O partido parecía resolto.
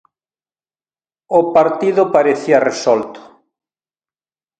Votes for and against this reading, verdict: 2, 0, accepted